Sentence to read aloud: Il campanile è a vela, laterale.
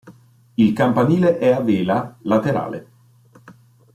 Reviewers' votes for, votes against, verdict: 2, 0, accepted